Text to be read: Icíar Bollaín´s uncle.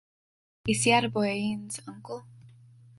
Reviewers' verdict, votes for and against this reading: rejected, 0, 2